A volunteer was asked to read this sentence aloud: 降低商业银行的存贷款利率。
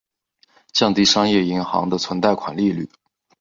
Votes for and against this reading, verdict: 2, 0, accepted